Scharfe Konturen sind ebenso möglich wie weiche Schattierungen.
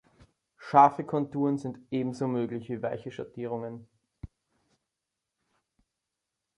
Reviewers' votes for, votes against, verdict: 3, 0, accepted